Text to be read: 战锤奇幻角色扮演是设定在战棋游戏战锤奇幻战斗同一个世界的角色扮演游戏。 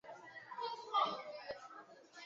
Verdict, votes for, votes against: rejected, 1, 2